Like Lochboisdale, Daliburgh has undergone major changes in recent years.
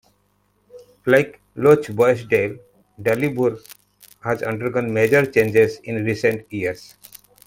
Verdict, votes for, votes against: accepted, 2, 0